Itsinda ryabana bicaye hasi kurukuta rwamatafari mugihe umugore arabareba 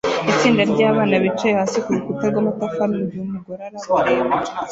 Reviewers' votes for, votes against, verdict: 0, 2, rejected